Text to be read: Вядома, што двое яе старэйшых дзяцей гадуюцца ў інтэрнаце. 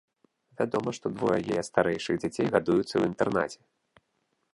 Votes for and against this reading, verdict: 0, 2, rejected